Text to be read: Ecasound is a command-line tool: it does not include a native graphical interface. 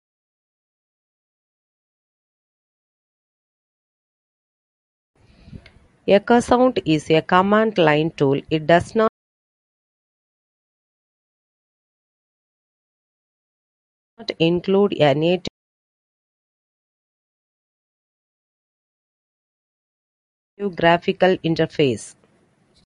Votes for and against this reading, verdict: 0, 2, rejected